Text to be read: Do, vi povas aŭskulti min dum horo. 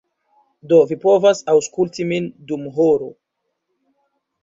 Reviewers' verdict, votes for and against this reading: rejected, 1, 2